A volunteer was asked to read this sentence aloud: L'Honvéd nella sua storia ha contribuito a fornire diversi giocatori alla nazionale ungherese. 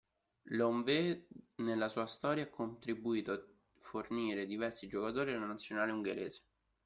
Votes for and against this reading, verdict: 0, 2, rejected